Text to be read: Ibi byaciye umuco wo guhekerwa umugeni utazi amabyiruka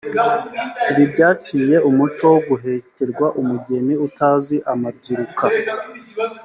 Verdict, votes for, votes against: accepted, 3, 0